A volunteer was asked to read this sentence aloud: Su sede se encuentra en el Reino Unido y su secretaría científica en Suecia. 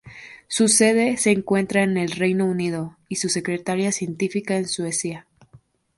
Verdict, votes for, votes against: accepted, 6, 0